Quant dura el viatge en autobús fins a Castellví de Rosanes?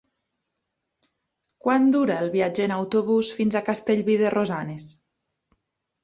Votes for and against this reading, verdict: 3, 0, accepted